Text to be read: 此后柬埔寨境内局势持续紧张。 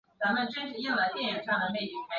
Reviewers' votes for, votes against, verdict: 0, 4, rejected